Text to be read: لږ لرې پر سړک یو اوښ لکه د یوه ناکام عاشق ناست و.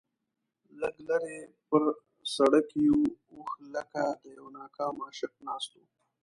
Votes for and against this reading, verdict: 1, 2, rejected